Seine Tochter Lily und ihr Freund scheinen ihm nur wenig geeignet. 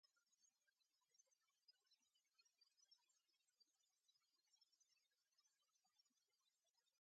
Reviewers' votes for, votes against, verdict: 0, 2, rejected